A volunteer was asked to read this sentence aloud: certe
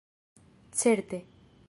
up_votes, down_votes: 2, 0